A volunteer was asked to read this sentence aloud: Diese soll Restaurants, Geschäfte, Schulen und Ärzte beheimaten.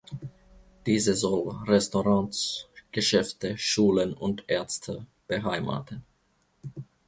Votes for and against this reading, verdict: 2, 1, accepted